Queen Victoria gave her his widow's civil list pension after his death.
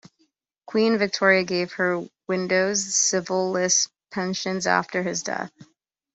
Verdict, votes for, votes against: rejected, 0, 2